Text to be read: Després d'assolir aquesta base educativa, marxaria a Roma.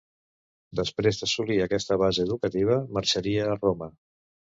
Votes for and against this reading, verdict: 3, 0, accepted